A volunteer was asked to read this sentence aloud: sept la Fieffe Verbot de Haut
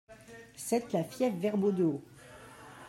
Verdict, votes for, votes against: rejected, 1, 2